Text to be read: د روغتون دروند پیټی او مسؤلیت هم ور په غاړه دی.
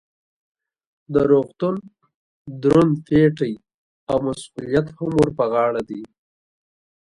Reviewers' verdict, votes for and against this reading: accepted, 2, 0